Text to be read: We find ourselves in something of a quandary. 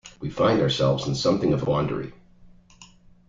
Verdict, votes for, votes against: rejected, 1, 2